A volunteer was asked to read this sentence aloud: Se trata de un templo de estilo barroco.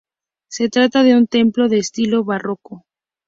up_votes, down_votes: 0, 2